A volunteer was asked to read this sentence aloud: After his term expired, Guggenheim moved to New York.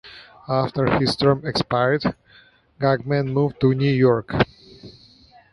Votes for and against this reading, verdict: 4, 2, accepted